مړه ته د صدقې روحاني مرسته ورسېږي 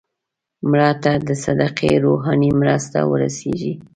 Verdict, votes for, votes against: accepted, 2, 0